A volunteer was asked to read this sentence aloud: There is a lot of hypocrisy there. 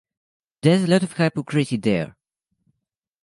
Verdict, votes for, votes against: rejected, 1, 2